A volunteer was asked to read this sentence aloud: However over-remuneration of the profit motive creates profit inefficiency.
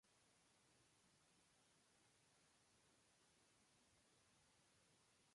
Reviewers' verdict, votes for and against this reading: rejected, 0, 2